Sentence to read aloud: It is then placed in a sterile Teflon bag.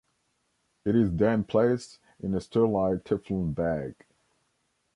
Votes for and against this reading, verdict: 1, 2, rejected